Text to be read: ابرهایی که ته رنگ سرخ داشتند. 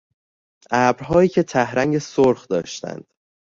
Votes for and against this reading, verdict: 2, 0, accepted